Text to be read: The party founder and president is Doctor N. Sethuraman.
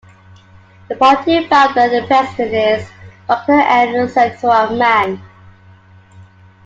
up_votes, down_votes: 2, 0